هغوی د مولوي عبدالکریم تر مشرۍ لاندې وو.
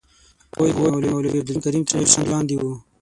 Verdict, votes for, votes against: rejected, 6, 9